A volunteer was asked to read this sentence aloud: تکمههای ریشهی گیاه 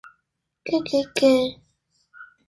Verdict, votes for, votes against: rejected, 0, 2